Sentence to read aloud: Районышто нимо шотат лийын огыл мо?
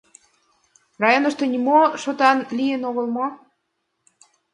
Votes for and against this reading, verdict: 1, 2, rejected